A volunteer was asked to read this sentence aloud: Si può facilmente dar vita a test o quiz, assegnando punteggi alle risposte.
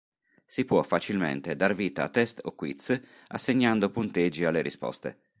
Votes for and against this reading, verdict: 4, 0, accepted